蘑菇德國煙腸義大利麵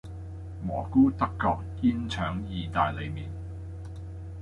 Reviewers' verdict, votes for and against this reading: accepted, 2, 0